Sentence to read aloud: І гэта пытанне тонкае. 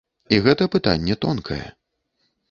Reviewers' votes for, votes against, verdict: 2, 0, accepted